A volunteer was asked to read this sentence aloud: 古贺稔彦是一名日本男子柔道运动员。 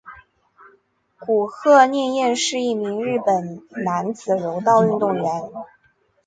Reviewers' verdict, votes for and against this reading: accepted, 2, 0